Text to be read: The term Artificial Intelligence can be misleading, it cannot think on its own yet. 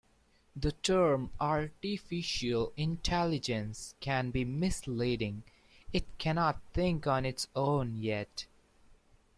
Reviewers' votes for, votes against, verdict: 1, 2, rejected